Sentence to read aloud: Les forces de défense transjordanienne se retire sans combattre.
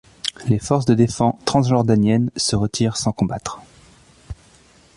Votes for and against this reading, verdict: 0, 2, rejected